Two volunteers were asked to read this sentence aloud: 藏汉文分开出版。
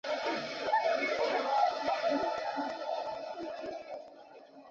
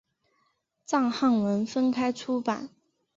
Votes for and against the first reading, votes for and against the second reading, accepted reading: 0, 2, 4, 0, second